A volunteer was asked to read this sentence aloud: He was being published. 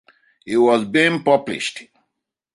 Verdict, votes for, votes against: accepted, 2, 1